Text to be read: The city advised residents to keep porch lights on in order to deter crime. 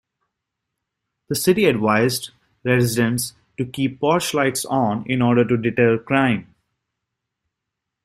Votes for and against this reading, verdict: 3, 2, accepted